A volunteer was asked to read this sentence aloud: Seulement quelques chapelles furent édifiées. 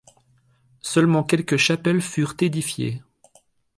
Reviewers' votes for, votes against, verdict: 3, 0, accepted